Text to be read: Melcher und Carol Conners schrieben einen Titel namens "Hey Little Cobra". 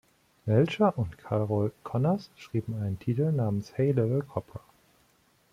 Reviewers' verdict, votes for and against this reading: accepted, 2, 0